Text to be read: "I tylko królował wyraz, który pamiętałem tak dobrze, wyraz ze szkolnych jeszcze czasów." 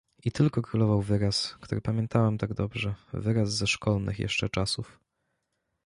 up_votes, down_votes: 2, 0